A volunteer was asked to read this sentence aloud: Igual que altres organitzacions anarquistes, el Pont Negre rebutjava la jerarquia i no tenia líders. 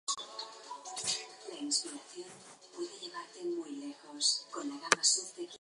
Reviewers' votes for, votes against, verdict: 0, 2, rejected